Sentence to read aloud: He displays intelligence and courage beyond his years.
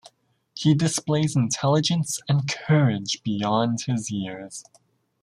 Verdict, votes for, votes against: accepted, 2, 0